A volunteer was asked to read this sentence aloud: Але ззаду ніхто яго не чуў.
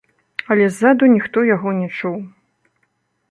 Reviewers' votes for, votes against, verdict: 2, 0, accepted